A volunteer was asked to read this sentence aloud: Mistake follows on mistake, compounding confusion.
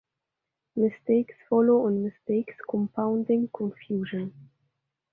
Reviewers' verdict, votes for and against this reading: rejected, 0, 2